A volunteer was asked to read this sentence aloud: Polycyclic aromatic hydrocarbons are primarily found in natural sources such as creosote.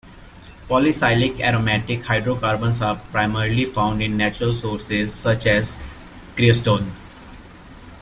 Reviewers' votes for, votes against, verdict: 2, 1, accepted